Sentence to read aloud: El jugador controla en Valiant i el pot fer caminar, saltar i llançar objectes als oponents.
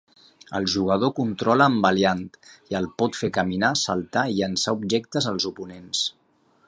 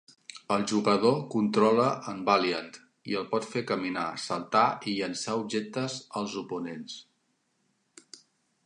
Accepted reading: second